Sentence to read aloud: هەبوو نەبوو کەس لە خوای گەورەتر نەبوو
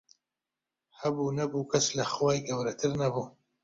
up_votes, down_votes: 2, 0